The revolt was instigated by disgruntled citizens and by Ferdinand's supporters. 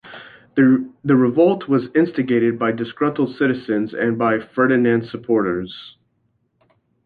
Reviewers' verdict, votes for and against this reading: rejected, 0, 2